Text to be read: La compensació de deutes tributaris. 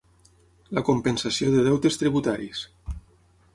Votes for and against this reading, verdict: 6, 0, accepted